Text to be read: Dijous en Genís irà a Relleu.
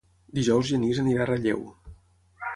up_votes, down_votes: 0, 6